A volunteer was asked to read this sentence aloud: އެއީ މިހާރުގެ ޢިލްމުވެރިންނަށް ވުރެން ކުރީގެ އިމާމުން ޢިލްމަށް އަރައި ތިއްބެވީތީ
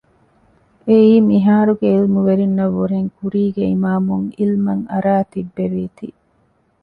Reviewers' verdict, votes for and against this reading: accepted, 2, 0